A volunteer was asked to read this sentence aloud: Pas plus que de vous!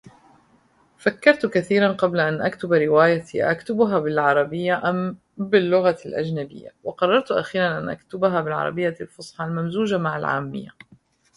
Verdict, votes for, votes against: rejected, 0, 2